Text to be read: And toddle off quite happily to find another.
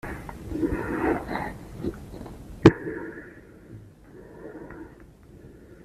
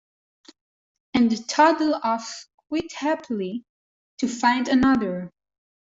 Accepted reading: second